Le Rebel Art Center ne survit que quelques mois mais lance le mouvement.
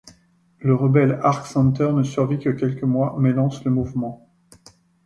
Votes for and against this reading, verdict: 0, 2, rejected